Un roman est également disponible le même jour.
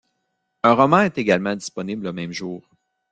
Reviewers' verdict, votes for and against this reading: accepted, 2, 0